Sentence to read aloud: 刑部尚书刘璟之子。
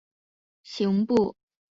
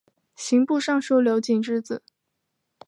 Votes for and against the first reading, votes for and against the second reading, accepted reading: 0, 2, 3, 0, second